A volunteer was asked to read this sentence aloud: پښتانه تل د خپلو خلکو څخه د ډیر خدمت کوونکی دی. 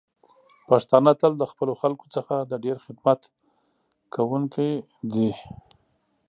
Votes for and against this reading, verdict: 3, 0, accepted